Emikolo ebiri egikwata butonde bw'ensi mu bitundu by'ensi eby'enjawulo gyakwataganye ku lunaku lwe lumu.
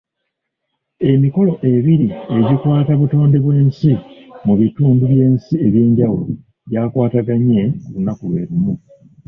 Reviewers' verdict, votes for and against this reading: rejected, 1, 2